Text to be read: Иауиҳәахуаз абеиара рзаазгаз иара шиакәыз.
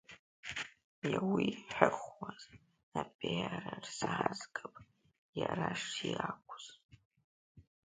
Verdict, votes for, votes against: rejected, 0, 2